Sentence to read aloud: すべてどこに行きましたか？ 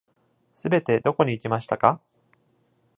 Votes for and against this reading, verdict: 2, 0, accepted